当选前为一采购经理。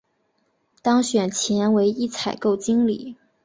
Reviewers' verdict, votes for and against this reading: accepted, 2, 0